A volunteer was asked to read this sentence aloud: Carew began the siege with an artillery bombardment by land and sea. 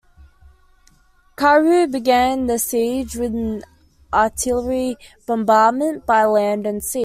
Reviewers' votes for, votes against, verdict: 1, 2, rejected